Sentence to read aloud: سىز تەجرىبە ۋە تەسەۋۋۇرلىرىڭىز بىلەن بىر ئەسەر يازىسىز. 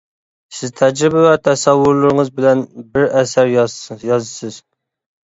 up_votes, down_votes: 1, 2